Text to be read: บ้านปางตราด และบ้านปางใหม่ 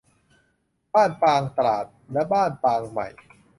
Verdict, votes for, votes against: accepted, 2, 0